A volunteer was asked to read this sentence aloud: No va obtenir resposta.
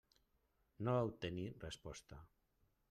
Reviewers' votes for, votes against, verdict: 1, 2, rejected